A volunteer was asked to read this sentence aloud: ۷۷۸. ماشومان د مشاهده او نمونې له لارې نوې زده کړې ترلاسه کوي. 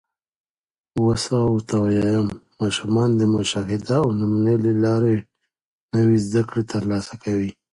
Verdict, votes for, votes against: rejected, 0, 2